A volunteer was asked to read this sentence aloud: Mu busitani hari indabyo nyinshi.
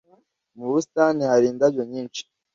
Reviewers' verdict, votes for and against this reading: accepted, 2, 0